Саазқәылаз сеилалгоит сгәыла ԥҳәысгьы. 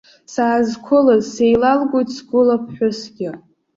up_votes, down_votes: 2, 0